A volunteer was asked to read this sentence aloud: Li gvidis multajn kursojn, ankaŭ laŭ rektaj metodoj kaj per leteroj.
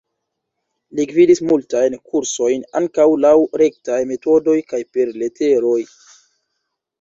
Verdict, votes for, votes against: accepted, 2, 0